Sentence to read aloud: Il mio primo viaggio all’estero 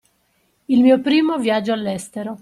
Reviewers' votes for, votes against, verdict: 2, 0, accepted